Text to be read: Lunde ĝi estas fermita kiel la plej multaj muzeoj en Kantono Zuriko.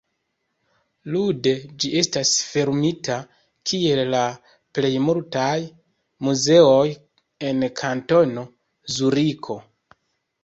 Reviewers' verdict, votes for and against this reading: rejected, 1, 2